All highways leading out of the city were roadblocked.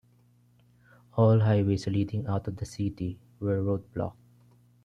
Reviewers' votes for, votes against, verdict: 1, 2, rejected